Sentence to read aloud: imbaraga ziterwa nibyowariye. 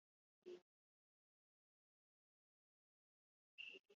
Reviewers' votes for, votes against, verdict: 1, 2, rejected